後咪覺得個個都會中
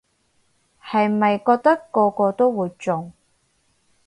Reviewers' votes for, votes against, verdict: 2, 4, rejected